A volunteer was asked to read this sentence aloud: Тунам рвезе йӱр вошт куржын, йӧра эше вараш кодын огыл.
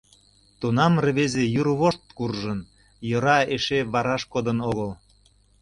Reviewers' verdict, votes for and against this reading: accepted, 3, 0